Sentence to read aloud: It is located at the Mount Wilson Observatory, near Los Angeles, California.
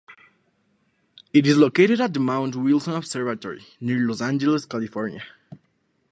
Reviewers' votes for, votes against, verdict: 2, 0, accepted